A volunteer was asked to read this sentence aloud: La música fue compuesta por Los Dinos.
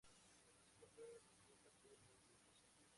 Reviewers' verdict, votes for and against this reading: accepted, 4, 0